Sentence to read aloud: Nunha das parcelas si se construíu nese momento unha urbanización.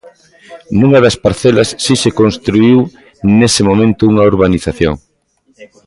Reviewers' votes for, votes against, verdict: 0, 2, rejected